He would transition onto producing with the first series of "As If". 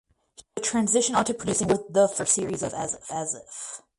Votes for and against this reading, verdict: 4, 8, rejected